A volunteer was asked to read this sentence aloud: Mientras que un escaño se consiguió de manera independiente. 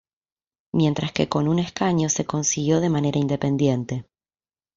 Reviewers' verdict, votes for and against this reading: rejected, 0, 2